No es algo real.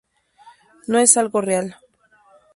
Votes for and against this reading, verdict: 2, 0, accepted